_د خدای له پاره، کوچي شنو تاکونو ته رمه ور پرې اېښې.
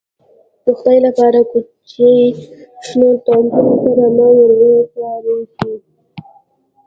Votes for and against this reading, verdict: 1, 2, rejected